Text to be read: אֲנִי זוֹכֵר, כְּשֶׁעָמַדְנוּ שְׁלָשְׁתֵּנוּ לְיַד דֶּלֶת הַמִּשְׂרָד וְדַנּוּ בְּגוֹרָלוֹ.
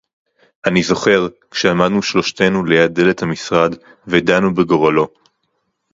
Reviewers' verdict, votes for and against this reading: accepted, 4, 0